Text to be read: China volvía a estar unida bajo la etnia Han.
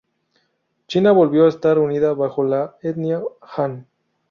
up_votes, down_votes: 0, 4